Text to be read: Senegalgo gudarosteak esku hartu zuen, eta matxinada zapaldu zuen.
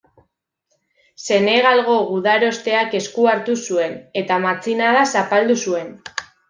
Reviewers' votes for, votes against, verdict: 2, 1, accepted